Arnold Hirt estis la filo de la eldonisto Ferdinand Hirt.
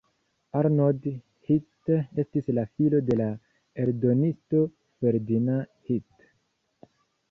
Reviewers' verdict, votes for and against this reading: accepted, 2, 0